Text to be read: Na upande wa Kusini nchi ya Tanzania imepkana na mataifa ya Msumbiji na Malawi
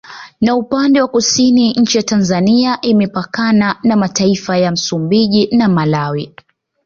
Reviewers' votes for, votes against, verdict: 2, 0, accepted